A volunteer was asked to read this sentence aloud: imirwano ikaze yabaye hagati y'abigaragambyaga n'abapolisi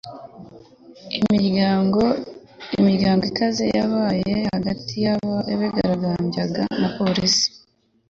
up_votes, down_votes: 1, 2